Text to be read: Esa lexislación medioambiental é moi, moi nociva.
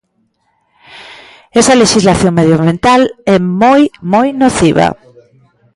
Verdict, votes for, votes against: rejected, 1, 2